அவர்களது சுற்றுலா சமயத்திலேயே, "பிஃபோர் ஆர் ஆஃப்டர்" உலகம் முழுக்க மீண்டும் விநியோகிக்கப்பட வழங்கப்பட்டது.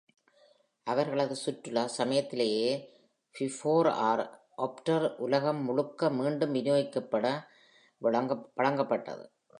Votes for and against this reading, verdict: 0, 2, rejected